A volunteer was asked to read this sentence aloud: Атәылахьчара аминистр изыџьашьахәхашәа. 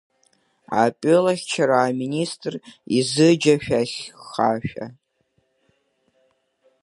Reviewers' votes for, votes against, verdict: 1, 2, rejected